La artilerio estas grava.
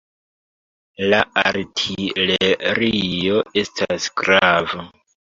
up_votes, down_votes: 2, 1